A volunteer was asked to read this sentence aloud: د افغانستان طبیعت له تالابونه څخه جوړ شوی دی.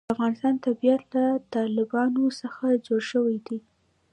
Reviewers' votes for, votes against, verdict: 2, 1, accepted